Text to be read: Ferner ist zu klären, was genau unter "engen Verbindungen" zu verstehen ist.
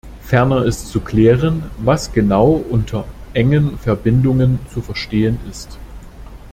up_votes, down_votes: 2, 0